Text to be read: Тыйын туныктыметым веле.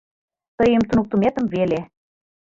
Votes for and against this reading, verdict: 2, 0, accepted